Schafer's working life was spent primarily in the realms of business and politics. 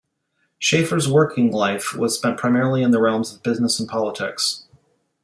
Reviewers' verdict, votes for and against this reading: accepted, 2, 0